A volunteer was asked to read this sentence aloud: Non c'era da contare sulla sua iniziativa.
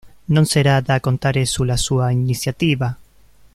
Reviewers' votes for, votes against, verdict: 1, 2, rejected